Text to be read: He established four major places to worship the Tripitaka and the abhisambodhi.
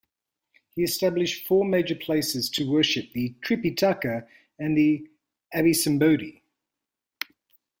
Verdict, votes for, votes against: accepted, 2, 1